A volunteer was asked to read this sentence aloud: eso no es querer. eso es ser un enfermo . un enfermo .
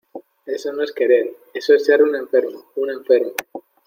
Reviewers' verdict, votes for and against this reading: accepted, 2, 0